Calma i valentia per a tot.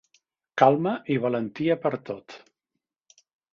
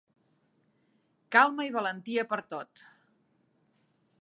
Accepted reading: first